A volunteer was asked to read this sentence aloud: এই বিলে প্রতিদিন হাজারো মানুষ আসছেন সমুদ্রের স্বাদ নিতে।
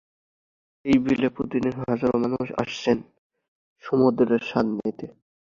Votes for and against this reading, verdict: 2, 1, accepted